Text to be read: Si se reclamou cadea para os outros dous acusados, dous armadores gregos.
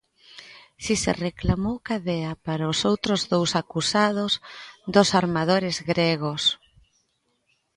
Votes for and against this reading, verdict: 0, 2, rejected